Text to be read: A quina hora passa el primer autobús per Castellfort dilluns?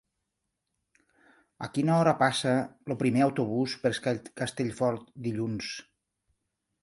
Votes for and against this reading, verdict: 0, 2, rejected